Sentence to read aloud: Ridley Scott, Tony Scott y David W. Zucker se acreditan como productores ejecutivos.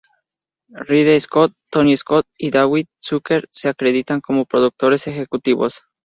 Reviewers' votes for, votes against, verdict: 0, 2, rejected